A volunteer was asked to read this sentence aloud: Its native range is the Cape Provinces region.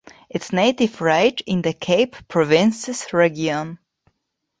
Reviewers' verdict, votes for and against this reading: rejected, 0, 2